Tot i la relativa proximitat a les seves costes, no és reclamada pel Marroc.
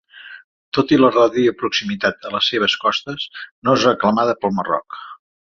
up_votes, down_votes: 0, 2